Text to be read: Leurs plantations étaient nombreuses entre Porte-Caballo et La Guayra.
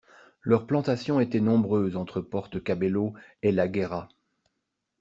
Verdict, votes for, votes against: rejected, 1, 2